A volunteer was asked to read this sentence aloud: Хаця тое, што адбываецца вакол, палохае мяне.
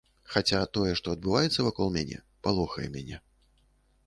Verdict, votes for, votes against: rejected, 0, 2